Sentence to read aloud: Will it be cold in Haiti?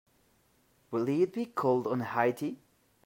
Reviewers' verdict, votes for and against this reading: rejected, 1, 2